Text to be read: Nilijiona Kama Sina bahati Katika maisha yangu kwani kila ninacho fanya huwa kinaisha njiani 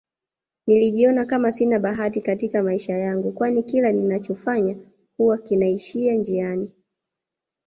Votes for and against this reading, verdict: 0, 2, rejected